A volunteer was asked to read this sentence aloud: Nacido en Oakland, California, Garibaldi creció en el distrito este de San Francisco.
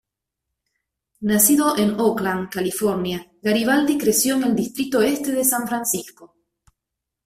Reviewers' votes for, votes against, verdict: 0, 2, rejected